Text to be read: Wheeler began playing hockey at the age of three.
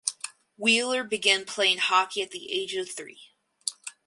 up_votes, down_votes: 4, 0